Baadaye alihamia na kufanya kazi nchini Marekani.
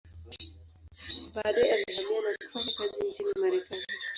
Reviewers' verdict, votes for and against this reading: rejected, 0, 2